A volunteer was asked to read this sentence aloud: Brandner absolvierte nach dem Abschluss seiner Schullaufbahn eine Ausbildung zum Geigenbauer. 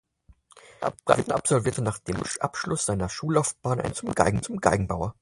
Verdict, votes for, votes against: rejected, 0, 4